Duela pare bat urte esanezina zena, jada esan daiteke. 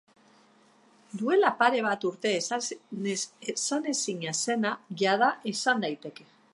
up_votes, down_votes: 0, 2